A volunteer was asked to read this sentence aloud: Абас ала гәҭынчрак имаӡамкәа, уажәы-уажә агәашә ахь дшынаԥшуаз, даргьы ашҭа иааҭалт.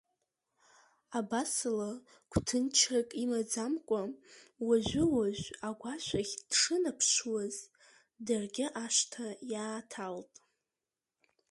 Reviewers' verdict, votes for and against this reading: accepted, 2, 0